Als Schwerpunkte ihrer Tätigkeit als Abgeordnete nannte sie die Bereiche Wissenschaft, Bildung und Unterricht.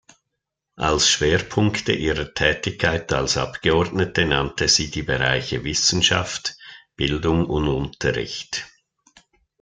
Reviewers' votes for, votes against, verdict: 2, 0, accepted